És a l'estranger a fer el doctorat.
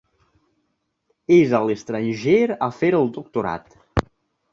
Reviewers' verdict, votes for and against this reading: accepted, 3, 0